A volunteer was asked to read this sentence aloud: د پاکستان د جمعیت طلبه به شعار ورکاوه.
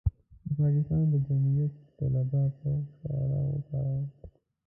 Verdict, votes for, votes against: rejected, 0, 3